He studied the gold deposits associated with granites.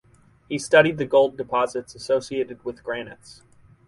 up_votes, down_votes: 4, 0